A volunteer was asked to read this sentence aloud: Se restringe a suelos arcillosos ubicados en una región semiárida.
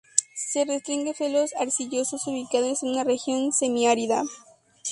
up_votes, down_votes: 0, 6